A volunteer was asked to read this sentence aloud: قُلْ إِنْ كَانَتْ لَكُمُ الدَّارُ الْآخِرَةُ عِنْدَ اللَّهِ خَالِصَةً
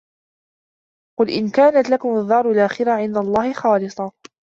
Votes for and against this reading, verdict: 1, 2, rejected